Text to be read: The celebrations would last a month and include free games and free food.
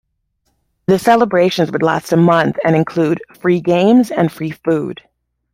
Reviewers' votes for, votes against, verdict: 2, 0, accepted